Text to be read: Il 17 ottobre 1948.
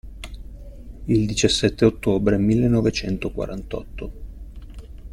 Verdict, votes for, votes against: rejected, 0, 2